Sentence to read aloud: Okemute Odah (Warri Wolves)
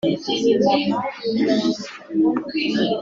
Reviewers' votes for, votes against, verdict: 0, 2, rejected